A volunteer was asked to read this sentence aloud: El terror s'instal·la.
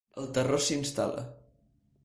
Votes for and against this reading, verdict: 2, 0, accepted